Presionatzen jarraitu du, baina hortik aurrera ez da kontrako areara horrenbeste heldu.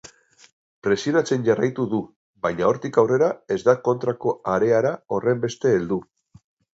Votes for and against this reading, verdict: 4, 0, accepted